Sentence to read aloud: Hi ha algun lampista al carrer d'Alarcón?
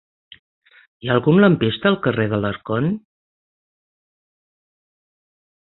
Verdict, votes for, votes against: accepted, 10, 0